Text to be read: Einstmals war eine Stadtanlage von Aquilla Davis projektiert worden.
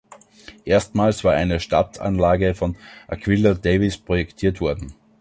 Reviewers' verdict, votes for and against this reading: rejected, 0, 2